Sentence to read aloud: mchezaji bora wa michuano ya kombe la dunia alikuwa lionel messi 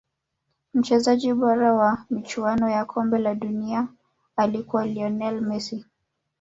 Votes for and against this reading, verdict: 0, 2, rejected